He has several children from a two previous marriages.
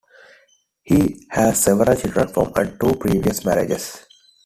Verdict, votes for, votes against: rejected, 0, 2